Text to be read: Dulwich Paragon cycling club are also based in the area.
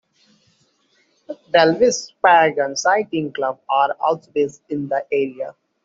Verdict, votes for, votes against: rejected, 0, 2